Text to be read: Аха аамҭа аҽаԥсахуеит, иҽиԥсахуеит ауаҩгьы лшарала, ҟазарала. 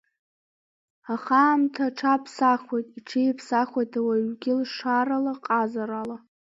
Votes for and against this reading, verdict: 1, 2, rejected